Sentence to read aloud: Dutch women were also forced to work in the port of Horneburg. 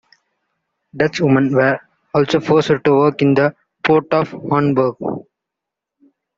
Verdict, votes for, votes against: rejected, 0, 2